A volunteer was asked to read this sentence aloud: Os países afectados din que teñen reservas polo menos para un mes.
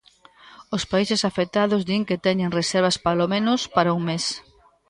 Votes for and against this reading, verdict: 1, 2, rejected